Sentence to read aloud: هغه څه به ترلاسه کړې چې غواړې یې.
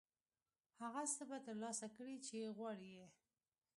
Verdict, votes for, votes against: accepted, 2, 0